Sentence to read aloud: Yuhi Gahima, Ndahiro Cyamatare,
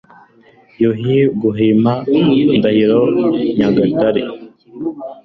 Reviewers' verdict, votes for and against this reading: rejected, 1, 2